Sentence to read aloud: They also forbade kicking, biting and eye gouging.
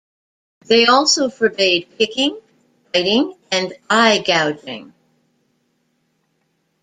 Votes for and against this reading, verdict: 2, 1, accepted